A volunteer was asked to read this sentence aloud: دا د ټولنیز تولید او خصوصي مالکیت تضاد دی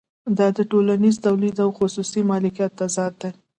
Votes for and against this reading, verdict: 2, 0, accepted